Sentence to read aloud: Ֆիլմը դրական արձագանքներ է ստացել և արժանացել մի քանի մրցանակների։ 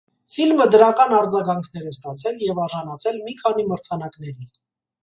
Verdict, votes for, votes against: accepted, 2, 0